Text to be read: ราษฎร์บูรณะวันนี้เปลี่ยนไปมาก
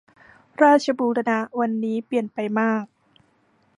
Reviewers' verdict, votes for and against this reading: rejected, 0, 2